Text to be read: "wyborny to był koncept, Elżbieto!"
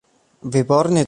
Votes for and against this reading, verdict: 0, 2, rejected